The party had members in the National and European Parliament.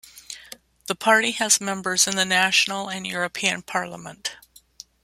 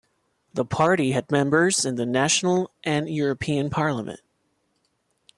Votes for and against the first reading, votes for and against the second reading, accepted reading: 1, 2, 2, 0, second